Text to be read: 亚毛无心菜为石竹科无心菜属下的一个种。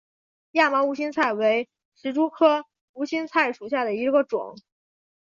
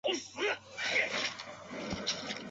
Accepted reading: first